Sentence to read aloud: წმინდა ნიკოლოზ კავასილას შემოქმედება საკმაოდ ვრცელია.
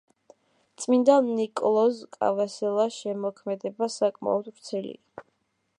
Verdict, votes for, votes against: rejected, 1, 2